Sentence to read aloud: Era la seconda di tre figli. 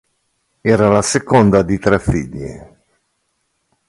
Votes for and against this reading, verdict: 2, 0, accepted